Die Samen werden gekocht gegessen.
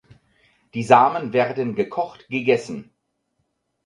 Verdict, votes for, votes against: accepted, 4, 0